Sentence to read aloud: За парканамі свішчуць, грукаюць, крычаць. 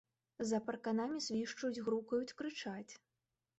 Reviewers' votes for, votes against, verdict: 0, 2, rejected